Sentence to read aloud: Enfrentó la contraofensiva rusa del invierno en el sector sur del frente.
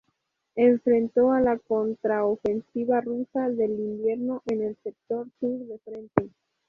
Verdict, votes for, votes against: accepted, 2, 0